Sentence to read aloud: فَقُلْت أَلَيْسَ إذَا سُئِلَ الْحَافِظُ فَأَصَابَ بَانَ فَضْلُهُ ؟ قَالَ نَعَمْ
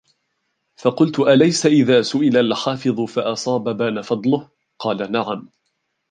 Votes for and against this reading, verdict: 0, 2, rejected